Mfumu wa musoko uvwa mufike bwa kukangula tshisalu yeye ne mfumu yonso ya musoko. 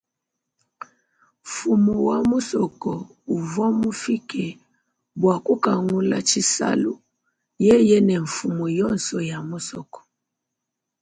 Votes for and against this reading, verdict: 2, 0, accepted